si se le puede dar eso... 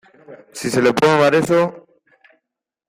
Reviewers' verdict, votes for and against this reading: rejected, 0, 2